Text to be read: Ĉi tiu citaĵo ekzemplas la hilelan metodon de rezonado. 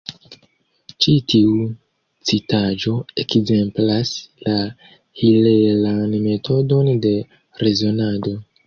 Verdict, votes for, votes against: accepted, 2, 0